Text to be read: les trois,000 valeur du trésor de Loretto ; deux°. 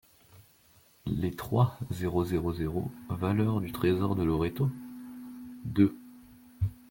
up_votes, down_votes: 0, 2